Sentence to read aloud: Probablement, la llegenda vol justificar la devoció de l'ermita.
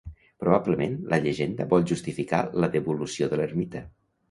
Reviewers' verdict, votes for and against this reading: rejected, 1, 2